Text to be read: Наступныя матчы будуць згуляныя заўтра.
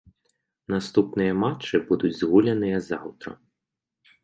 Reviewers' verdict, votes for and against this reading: rejected, 0, 2